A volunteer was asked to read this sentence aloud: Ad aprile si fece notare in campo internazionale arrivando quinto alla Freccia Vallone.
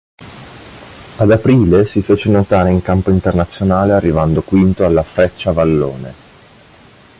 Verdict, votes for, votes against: accepted, 2, 0